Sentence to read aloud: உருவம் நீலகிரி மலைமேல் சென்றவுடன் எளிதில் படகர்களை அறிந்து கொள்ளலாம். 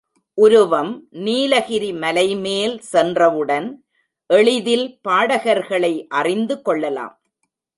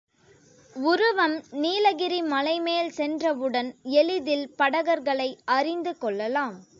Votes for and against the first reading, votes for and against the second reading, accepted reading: 0, 2, 2, 0, second